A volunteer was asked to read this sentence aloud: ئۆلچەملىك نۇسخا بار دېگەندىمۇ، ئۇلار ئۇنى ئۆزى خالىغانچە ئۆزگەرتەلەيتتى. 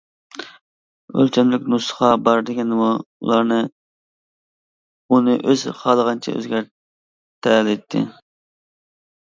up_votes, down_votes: 0, 2